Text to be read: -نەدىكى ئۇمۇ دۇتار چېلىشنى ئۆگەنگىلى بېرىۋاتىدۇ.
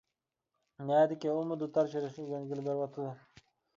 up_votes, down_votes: 2, 1